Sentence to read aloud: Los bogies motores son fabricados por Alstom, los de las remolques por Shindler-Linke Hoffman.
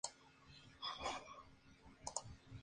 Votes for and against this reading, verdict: 0, 2, rejected